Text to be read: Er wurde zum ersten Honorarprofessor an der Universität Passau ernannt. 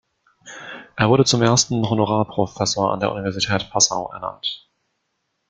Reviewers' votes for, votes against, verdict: 2, 0, accepted